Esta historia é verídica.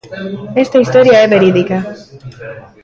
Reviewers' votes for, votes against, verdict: 0, 2, rejected